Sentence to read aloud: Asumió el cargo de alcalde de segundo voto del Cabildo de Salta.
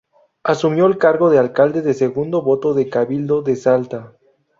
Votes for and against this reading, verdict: 0, 2, rejected